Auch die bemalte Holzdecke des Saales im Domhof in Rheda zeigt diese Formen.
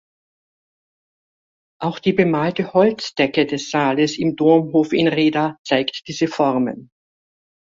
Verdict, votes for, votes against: accepted, 2, 0